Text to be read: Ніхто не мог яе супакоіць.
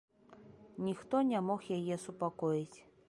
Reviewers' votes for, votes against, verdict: 3, 0, accepted